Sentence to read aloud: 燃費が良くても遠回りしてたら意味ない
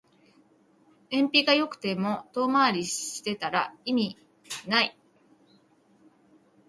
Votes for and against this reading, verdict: 2, 0, accepted